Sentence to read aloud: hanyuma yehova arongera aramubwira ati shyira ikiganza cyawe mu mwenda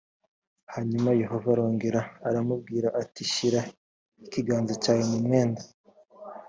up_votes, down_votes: 2, 0